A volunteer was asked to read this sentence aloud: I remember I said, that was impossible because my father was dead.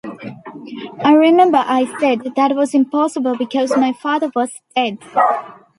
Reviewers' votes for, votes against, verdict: 2, 0, accepted